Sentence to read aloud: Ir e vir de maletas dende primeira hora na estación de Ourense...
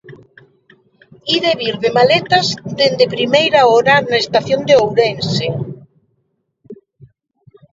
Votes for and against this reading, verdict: 2, 0, accepted